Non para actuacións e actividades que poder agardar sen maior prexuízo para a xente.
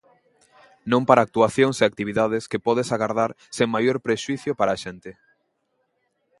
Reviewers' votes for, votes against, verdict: 1, 2, rejected